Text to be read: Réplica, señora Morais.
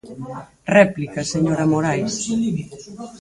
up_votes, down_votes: 2, 4